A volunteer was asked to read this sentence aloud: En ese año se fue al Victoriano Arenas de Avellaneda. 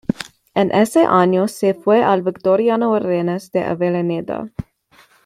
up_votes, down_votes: 2, 1